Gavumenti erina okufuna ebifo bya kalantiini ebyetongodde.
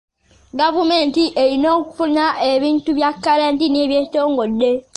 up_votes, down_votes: 0, 2